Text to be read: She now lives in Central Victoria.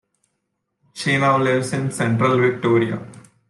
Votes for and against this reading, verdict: 2, 0, accepted